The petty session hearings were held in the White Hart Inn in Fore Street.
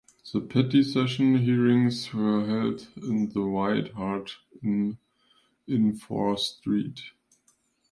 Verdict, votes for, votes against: accepted, 3, 0